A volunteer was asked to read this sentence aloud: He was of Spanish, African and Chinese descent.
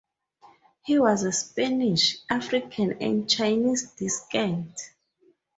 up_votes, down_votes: 2, 4